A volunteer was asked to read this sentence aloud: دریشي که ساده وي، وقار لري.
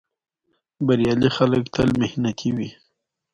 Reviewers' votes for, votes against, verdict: 2, 0, accepted